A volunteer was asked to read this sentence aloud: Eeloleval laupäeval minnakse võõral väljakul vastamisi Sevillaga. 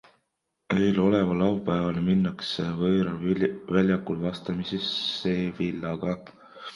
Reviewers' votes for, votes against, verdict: 2, 1, accepted